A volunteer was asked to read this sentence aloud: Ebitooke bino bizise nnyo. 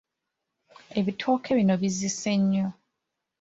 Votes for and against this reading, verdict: 2, 1, accepted